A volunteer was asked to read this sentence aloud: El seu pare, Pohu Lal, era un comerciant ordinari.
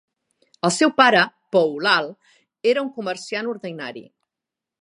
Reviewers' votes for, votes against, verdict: 3, 0, accepted